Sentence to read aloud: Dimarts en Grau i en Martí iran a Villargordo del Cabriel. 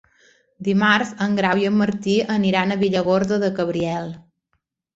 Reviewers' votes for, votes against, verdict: 0, 2, rejected